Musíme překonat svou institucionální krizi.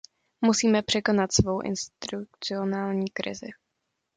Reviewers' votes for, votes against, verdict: 0, 2, rejected